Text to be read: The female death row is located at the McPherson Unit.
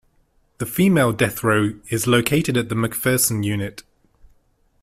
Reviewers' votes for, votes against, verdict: 2, 0, accepted